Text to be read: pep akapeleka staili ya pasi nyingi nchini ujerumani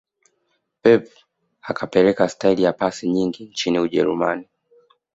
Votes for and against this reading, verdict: 2, 1, accepted